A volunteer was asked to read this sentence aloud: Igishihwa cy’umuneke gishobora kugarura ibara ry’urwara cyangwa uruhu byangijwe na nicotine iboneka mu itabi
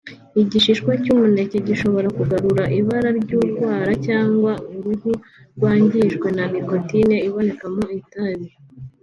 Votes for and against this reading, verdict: 2, 0, accepted